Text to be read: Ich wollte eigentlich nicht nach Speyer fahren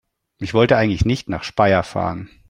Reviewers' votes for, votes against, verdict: 2, 0, accepted